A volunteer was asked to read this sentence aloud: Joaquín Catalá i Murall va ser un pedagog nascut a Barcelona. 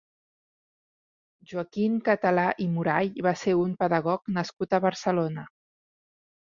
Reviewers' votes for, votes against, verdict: 2, 1, accepted